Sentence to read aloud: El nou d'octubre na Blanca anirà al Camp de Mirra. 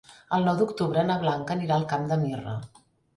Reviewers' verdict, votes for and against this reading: accepted, 2, 0